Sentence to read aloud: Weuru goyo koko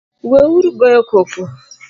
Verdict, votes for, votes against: accepted, 2, 0